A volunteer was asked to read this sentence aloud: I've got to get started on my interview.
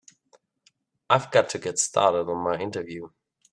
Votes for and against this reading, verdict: 2, 0, accepted